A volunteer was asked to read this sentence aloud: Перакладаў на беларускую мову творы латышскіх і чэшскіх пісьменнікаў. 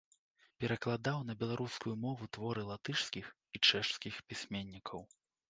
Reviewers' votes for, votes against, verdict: 1, 3, rejected